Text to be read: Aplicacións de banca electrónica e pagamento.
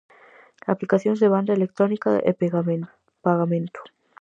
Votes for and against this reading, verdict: 0, 4, rejected